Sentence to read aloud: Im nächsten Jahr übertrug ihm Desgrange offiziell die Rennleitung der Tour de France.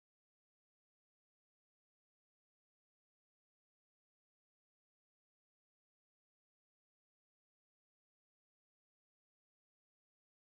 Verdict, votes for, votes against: rejected, 0, 2